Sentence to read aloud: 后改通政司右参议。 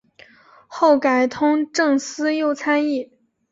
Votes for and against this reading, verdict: 2, 0, accepted